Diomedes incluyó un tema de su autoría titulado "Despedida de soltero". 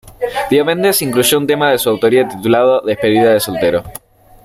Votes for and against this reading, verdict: 0, 2, rejected